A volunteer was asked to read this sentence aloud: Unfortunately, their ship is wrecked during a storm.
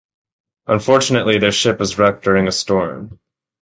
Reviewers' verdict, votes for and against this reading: accepted, 2, 0